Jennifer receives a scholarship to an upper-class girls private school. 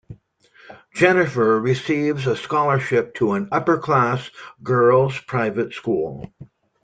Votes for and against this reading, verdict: 2, 0, accepted